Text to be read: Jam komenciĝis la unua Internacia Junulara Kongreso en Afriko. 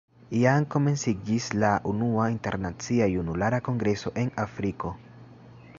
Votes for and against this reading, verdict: 1, 2, rejected